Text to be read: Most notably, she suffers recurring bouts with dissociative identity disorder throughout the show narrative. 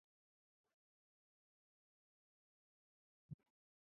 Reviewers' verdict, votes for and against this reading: rejected, 0, 2